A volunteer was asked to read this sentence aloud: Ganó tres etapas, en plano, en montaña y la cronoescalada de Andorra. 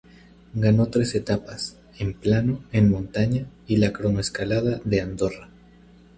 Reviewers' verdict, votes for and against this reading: accepted, 2, 0